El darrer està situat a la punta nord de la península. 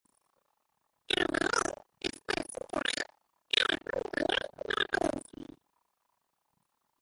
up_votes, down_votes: 0, 3